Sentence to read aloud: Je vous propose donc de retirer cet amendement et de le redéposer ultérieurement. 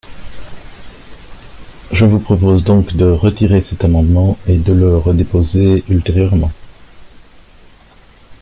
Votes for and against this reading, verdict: 2, 0, accepted